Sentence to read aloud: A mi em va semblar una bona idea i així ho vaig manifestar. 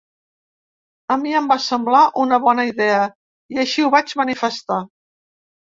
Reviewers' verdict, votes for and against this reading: accepted, 3, 0